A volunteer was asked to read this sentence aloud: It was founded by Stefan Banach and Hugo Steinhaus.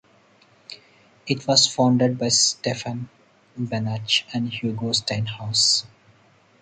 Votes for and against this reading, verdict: 2, 2, rejected